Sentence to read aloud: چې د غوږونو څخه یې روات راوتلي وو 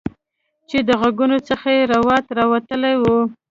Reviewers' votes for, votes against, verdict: 1, 2, rejected